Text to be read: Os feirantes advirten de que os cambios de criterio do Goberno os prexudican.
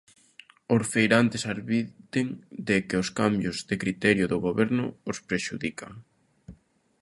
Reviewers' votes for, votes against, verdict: 2, 1, accepted